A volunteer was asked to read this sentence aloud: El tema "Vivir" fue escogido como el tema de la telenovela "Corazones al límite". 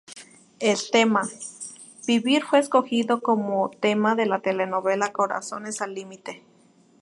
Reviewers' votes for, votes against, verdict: 0, 2, rejected